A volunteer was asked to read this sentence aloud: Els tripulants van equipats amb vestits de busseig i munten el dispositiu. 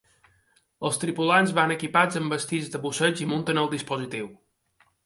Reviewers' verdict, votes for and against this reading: accepted, 2, 0